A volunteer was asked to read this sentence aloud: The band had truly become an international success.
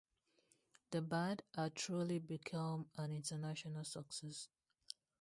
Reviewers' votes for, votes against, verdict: 0, 2, rejected